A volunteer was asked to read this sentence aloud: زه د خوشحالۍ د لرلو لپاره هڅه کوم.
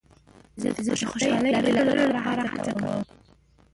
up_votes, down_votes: 0, 2